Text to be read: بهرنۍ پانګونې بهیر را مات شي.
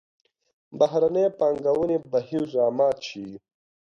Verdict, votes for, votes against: accepted, 2, 0